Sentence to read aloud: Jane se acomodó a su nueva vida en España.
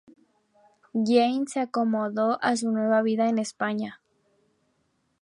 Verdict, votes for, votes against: rejected, 0, 2